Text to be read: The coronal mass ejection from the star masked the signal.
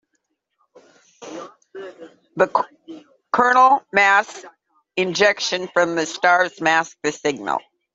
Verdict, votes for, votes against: rejected, 1, 2